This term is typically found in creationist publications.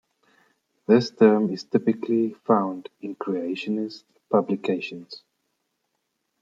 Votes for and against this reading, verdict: 2, 0, accepted